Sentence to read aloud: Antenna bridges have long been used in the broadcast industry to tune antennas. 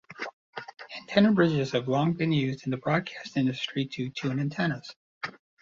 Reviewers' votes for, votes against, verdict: 2, 0, accepted